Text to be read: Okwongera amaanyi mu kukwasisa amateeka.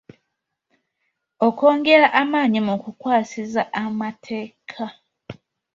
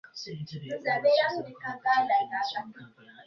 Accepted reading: first